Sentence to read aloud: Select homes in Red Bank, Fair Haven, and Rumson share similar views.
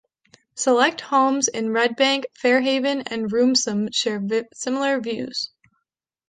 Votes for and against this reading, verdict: 1, 2, rejected